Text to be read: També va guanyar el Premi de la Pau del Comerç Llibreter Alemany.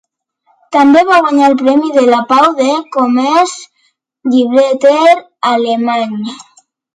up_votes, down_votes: 2, 0